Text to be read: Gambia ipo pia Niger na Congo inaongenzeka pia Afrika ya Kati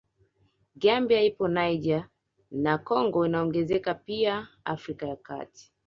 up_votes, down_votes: 2, 1